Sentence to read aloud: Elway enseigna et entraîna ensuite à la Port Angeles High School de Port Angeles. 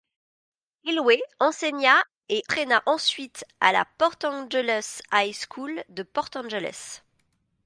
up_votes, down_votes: 1, 2